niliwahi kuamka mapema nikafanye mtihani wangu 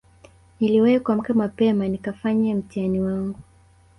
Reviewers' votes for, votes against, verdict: 1, 2, rejected